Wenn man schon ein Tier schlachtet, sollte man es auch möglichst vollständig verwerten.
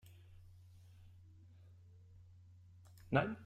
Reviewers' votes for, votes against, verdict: 0, 2, rejected